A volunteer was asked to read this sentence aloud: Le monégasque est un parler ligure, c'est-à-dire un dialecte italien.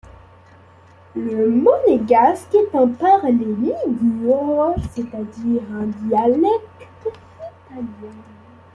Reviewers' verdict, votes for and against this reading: rejected, 1, 3